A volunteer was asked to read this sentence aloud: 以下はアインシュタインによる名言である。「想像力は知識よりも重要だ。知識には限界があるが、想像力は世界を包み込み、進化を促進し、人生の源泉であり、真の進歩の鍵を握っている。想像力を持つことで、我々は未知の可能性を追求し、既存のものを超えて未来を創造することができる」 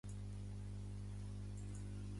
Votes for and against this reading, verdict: 0, 2, rejected